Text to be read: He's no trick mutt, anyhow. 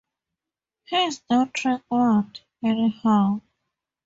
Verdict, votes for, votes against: accepted, 2, 0